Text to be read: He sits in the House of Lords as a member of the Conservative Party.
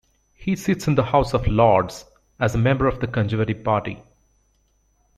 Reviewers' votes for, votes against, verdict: 2, 0, accepted